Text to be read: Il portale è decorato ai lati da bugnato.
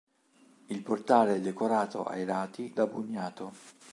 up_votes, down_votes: 2, 0